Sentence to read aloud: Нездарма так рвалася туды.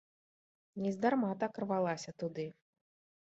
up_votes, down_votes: 2, 0